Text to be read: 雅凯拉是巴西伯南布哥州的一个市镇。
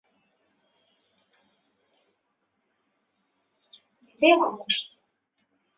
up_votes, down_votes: 0, 3